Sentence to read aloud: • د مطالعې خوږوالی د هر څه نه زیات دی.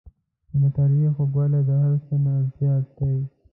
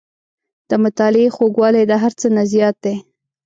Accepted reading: second